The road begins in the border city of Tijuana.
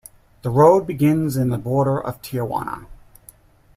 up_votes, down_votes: 0, 3